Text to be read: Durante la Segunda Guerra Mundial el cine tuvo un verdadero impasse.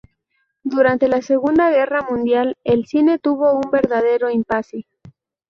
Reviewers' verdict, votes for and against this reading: accepted, 4, 0